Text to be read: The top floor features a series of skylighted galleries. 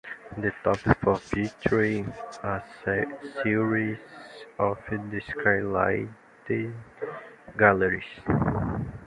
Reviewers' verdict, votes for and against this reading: rejected, 0, 2